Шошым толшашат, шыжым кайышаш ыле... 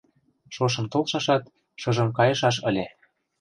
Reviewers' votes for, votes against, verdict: 2, 0, accepted